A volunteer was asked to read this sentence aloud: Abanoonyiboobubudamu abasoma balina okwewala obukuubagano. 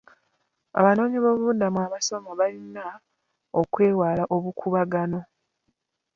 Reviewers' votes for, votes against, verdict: 1, 2, rejected